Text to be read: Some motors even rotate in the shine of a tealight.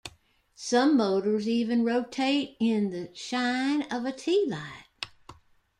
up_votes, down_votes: 2, 0